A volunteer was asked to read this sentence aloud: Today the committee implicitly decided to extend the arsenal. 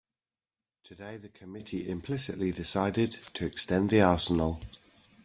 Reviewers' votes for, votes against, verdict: 2, 0, accepted